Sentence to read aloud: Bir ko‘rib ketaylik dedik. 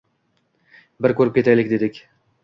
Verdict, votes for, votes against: accepted, 2, 0